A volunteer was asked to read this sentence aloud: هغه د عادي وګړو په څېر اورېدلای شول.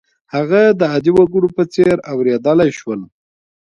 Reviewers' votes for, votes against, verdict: 2, 0, accepted